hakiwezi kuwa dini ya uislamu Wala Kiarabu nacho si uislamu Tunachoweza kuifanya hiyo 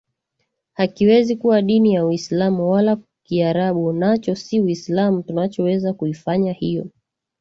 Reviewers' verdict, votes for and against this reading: accepted, 2, 0